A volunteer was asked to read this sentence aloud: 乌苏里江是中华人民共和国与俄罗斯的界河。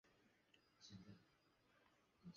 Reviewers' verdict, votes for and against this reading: rejected, 0, 2